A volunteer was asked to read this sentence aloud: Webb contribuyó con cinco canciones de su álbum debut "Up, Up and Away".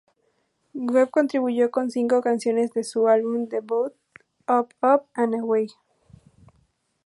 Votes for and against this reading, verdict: 6, 0, accepted